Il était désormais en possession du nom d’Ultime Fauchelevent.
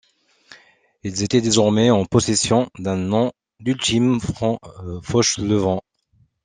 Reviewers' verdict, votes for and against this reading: rejected, 1, 2